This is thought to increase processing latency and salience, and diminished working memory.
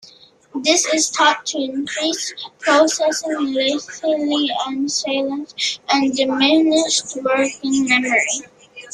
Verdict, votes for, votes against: rejected, 0, 2